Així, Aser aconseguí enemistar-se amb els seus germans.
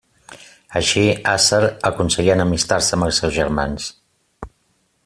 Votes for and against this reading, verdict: 2, 0, accepted